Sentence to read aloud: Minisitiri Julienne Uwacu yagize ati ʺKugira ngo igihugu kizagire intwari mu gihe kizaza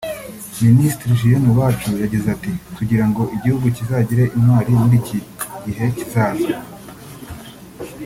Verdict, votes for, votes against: rejected, 1, 2